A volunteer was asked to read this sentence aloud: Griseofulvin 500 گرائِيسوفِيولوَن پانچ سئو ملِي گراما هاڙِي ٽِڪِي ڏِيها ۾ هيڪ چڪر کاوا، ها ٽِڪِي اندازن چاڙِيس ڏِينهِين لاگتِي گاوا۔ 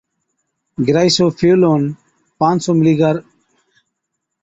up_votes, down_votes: 0, 2